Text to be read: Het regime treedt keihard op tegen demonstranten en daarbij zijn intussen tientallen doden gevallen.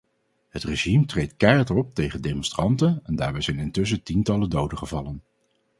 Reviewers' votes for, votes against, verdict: 4, 0, accepted